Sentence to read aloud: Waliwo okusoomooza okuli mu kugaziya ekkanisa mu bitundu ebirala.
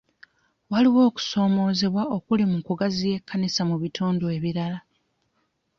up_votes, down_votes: 1, 3